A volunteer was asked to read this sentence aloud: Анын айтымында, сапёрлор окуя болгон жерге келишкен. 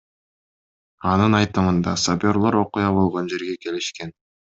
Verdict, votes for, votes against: accepted, 2, 0